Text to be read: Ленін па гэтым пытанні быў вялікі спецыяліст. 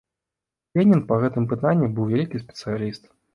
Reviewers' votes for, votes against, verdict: 2, 0, accepted